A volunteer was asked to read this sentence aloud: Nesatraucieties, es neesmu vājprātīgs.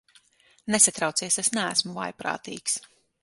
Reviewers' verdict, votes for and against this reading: rejected, 0, 6